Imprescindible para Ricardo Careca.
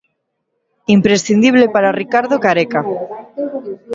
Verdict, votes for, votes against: accepted, 2, 1